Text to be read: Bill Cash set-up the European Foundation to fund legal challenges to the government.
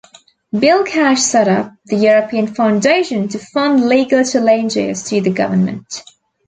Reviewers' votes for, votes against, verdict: 2, 0, accepted